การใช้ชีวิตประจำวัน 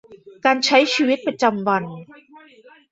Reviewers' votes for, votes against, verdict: 0, 2, rejected